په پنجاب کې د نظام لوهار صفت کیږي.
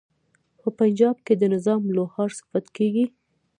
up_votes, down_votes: 0, 2